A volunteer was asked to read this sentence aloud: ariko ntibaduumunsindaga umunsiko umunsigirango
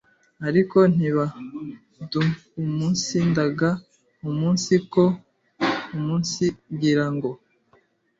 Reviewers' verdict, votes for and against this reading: rejected, 1, 2